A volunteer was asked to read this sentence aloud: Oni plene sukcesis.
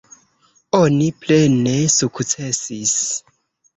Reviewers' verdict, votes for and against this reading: rejected, 1, 2